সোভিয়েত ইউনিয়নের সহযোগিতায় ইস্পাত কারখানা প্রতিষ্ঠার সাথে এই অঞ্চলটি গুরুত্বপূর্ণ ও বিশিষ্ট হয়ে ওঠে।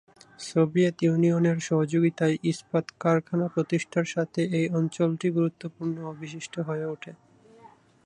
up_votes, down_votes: 2, 0